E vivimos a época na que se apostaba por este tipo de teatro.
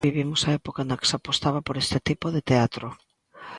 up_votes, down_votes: 1, 2